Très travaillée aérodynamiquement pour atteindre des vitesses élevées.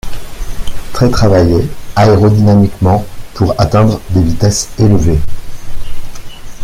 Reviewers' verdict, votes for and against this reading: accepted, 2, 0